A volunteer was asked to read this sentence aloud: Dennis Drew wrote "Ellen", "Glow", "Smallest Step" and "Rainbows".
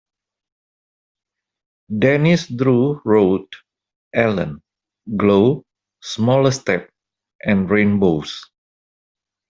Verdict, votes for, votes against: rejected, 0, 2